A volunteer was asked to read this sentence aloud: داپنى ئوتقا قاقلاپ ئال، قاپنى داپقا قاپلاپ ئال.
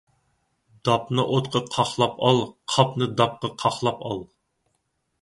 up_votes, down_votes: 2, 4